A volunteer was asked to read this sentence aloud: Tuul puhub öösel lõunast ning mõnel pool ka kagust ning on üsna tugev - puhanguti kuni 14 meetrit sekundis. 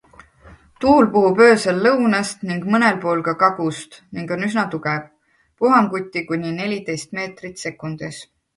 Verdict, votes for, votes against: rejected, 0, 2